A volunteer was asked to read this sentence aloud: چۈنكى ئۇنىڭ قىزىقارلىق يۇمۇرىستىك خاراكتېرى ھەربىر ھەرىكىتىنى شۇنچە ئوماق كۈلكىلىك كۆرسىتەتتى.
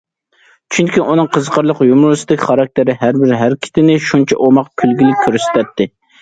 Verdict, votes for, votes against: accepted, 2, 0